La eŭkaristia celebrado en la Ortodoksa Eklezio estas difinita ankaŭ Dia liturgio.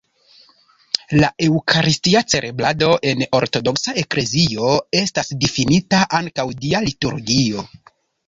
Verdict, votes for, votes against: rejected, 0, 2